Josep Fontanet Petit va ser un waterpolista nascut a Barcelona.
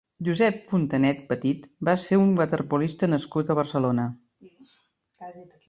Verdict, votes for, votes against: accepted, 4, 0